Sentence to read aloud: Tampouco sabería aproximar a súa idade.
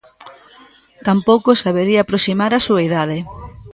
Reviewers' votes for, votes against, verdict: 0, 2, rejected